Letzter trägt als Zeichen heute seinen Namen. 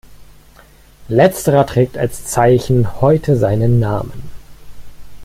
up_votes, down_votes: 1, 2